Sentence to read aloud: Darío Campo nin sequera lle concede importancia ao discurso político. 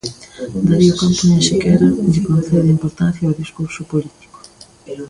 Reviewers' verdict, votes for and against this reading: rejected, 1, 2